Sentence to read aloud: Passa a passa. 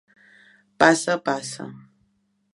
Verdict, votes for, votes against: accepted, 2, 0